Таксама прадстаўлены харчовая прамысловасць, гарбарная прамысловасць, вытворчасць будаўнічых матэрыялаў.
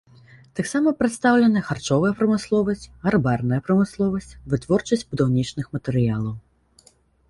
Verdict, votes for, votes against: rejected, 1, 2